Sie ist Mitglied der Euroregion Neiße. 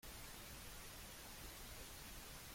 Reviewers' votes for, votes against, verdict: 0, 2, rejected